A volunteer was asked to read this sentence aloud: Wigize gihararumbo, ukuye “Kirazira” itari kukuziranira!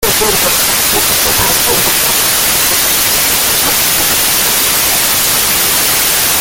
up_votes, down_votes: 0, 2